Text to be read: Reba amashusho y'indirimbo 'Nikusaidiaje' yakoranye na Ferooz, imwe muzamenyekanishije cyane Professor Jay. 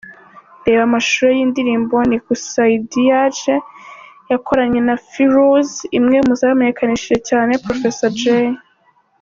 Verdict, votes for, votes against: accepted, 4, 0